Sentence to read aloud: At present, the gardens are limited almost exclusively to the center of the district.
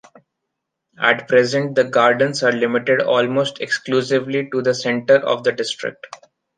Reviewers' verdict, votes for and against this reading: accepted, 2, 0